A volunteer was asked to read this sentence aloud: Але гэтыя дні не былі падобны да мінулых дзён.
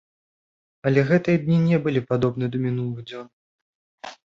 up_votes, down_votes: 2, 0